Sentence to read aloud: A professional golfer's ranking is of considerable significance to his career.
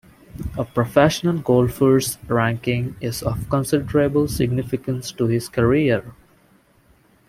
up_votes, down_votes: 2, 0